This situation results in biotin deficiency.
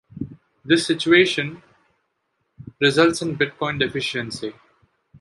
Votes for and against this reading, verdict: 0, 2, rejected